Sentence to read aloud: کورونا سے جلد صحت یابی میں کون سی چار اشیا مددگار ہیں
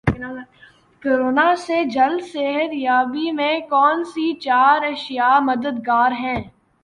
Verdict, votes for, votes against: rejected, 1, 2